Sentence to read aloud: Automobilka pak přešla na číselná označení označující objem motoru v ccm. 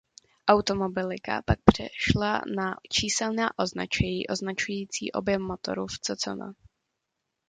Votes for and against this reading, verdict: 0, 2, rejected